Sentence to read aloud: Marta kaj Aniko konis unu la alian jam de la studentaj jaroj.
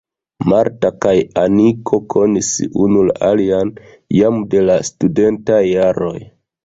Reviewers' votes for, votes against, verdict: 1, 2, rejected